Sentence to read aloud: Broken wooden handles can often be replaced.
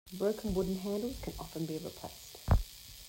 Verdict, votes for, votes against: accepted, 2, 0